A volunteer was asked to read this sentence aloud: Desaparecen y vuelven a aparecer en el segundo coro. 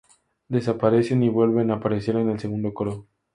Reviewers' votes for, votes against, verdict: 4, 0, accepted